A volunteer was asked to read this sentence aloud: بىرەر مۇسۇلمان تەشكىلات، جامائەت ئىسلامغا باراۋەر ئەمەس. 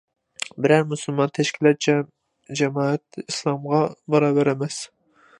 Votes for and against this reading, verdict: 0, 2, rejected